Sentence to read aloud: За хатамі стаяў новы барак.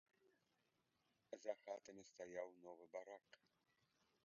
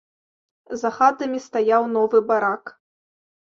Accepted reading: second